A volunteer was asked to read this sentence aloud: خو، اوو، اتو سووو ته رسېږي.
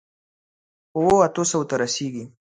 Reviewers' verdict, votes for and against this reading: accepted, 3, 2